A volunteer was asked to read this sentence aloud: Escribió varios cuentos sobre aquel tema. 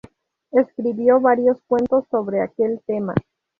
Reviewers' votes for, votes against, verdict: 0, 2, rejected